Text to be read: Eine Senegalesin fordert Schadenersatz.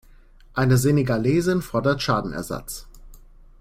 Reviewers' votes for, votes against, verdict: 2, 0, accepted